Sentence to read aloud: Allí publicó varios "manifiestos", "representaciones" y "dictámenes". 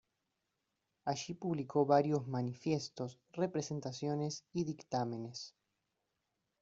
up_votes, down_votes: 1, 2